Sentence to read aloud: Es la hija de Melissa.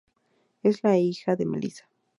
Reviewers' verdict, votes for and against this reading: accepted, 2, 0